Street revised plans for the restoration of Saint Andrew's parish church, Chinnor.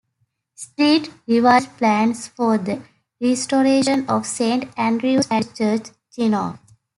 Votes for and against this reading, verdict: 0, 2, rejected